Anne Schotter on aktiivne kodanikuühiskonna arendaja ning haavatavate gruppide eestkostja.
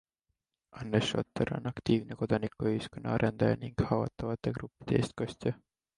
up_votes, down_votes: 2, 0